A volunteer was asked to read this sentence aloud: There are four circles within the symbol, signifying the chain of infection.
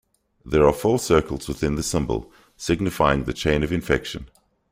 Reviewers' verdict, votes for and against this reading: accepted, 2, 0